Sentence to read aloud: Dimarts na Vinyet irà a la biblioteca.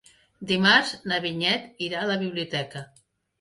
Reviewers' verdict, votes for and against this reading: accepted, 2, 0